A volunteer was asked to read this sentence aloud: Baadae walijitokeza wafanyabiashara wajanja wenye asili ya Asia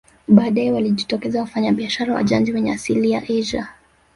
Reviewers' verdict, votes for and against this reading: rejected, 1, 2